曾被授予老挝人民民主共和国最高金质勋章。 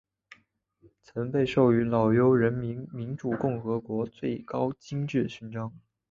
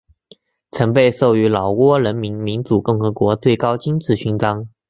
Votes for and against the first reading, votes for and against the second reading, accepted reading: 1, 2, 4, 0, second